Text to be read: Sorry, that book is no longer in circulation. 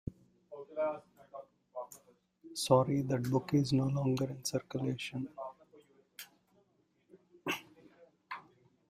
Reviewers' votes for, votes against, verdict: 1, 2, rejected